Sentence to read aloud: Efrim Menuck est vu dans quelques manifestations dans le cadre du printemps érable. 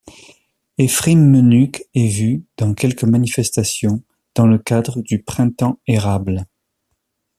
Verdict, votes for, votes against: accepted, 2, 0